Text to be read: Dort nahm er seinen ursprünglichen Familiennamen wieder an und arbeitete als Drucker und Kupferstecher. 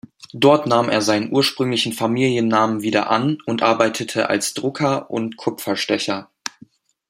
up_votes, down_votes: 2, 0